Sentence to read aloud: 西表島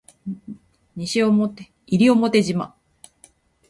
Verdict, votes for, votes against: rejected, 0, 2